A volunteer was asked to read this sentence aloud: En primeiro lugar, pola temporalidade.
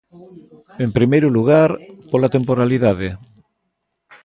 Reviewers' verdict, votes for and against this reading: accepted, 2, 0